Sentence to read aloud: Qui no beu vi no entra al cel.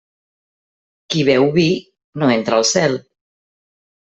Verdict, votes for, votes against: rejected, 0, 2